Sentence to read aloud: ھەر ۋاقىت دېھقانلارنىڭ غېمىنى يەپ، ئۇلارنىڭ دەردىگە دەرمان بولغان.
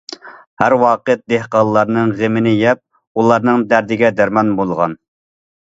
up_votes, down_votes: 2, 0